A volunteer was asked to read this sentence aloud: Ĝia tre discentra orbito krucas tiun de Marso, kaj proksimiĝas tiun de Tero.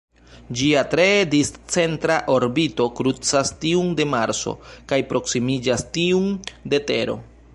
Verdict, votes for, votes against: rejected, 0, 2